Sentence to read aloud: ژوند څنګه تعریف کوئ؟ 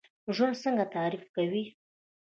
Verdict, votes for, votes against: rejected, 0, 2